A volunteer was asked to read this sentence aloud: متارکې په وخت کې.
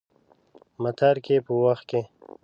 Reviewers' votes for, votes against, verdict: 2, 0, accepted